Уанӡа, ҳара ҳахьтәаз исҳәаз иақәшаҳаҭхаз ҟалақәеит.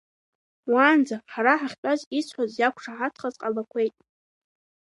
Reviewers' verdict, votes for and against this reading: rejected, 0, 2